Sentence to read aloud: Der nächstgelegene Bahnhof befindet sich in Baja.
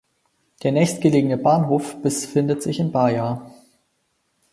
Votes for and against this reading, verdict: 4, 0, accepted